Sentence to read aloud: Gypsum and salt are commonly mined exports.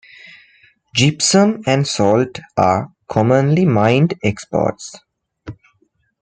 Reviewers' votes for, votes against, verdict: 2, 0, accepted